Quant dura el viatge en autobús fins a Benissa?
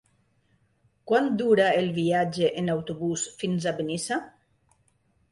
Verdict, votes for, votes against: accepted, 2, 0